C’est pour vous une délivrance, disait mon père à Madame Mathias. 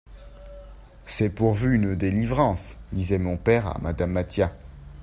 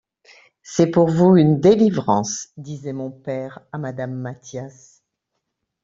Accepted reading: second